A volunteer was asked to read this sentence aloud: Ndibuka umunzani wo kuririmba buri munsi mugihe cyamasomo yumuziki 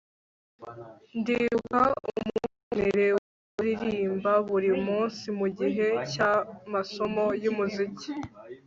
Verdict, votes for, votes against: rejected, 0, 2